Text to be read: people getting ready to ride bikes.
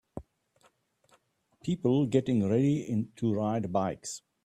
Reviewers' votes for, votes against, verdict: 0, 2, rejected